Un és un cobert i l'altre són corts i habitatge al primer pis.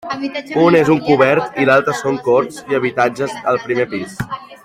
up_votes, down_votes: 1, 3